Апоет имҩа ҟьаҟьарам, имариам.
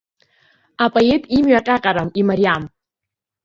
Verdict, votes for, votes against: accepted, 2, 1